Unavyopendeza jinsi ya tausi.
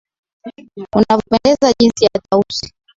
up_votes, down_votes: 0, 2